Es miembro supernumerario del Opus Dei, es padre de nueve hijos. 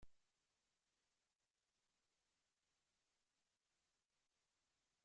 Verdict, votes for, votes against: rejected, 0, 2